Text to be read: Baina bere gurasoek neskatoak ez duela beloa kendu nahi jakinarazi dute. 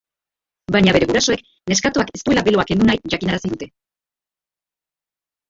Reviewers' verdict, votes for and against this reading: rejected, 0, 2